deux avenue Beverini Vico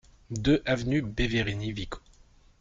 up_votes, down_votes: 2, 0